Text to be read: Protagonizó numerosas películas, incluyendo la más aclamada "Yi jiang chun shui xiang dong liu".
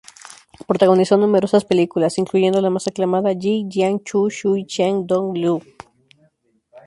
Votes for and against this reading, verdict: 0, 4, rejected